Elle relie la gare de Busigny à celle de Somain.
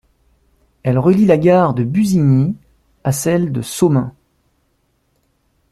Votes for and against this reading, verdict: 2, 0, accepted